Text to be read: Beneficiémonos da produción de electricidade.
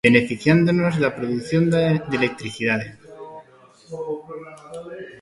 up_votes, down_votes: 0, 2